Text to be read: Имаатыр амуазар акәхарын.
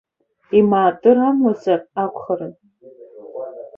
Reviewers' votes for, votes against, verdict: 1, 2, rejected